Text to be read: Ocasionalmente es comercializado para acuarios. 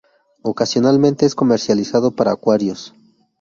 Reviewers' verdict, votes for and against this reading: accepted, 2, 0